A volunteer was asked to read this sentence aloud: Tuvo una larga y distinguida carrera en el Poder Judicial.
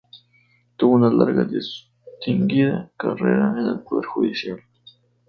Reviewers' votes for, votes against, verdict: 0, 4, rejected